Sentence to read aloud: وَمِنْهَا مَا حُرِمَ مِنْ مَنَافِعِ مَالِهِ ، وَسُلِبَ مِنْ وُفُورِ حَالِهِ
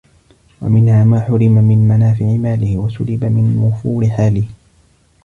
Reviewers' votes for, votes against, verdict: 2, 0, accepted